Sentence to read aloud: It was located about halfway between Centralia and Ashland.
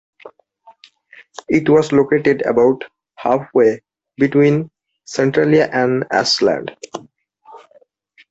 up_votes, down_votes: 2, 0